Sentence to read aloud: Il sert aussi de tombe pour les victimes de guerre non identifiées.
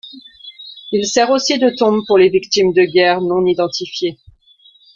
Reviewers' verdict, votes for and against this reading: accepted, 2, 0